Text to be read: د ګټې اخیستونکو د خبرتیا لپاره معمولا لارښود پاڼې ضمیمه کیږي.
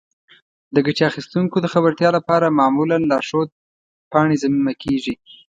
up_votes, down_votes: 1, 2